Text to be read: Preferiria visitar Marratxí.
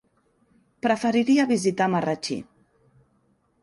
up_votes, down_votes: 3, 0